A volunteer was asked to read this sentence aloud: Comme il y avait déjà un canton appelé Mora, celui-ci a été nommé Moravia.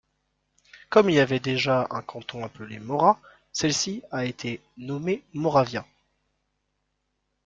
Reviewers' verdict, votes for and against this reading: rejected, 0, 2